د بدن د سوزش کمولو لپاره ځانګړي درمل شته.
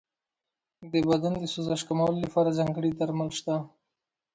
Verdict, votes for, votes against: accepted, 2, 0